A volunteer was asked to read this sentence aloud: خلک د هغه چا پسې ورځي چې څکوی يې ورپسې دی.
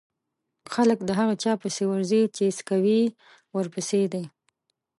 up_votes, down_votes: 1, 2